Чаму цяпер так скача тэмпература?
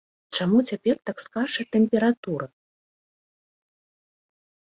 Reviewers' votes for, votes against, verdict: 2, 0, accepted